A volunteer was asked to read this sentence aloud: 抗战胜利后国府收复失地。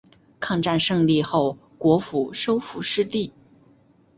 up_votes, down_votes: 2, 0